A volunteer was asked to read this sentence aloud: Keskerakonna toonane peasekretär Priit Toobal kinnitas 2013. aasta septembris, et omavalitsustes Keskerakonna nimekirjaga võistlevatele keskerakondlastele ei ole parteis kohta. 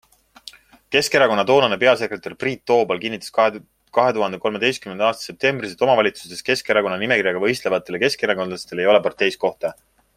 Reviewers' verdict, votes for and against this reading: rejected, 0, 2